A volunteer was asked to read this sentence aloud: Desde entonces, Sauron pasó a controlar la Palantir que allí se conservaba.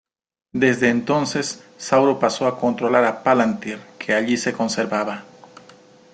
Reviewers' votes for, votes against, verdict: 0, 2, rejected